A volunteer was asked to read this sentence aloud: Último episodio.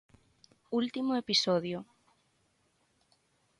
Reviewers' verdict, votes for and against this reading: accepted, 6, 0